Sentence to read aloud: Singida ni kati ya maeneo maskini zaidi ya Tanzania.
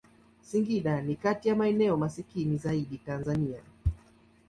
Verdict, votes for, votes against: accepted, 3, 2